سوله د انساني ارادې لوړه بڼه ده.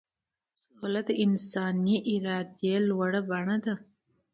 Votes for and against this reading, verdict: 2, 0, accepted